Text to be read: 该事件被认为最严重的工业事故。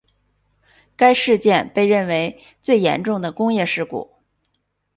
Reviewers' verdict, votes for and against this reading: accepted, 3, 0